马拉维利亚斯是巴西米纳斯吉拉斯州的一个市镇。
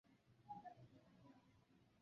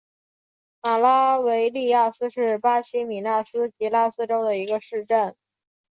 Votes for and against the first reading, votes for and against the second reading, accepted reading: 0, 3, 6, 1, second